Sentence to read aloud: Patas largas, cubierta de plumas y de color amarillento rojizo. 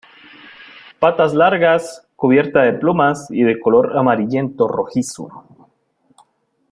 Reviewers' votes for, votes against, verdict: 2, 0, accepted